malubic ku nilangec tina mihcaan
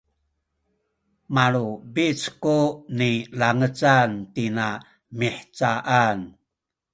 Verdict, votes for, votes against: rejected, 0, 2